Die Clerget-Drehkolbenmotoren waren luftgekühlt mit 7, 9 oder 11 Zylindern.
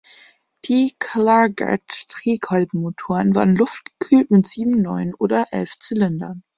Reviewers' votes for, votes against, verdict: 0, 2, rejected